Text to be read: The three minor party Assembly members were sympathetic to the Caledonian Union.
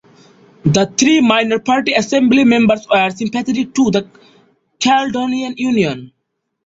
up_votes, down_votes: 0, 2